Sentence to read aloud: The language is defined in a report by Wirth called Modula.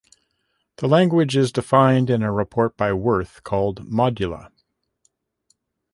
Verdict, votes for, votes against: accepted, 2, 0